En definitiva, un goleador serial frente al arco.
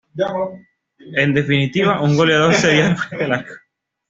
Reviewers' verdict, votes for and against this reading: rejected, 0, 2